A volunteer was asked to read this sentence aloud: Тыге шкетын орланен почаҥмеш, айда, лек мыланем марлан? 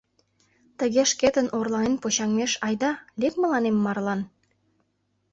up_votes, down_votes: 2, 0